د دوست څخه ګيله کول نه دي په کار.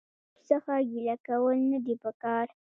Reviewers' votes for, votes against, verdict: 2, 1, accepted